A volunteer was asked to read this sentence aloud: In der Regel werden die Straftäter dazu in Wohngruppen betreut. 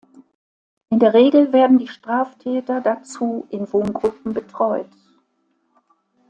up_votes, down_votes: 2, 1